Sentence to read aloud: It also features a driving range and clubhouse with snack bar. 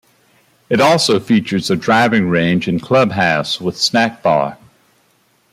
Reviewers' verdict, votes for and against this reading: accepted, 2, 0